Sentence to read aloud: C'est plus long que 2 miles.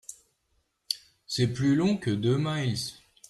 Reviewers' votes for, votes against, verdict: 0, 2, rejected